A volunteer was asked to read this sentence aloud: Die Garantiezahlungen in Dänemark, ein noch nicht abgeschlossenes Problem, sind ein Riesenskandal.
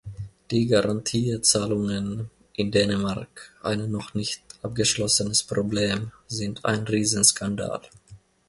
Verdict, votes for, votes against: rejected, 1, 2